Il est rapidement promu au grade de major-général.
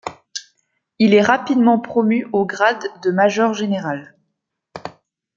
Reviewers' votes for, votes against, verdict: 2, 0, accepted